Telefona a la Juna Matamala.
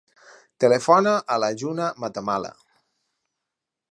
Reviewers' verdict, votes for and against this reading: accepted, 4, 0